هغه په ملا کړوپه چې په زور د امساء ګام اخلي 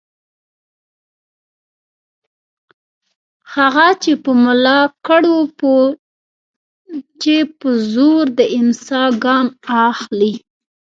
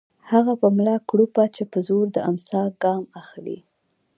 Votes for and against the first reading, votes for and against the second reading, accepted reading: 0, 2, 2, 0, second